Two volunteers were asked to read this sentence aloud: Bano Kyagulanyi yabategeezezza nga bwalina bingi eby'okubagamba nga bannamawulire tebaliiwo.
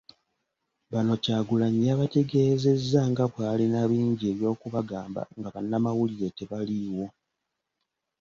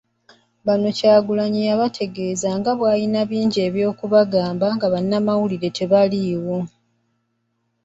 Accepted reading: first